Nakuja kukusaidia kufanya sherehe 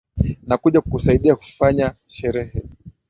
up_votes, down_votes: 0, 3